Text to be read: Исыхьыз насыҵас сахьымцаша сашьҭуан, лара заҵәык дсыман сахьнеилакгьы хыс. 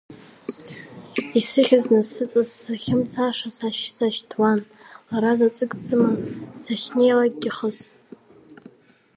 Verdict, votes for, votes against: accepted, 2, 1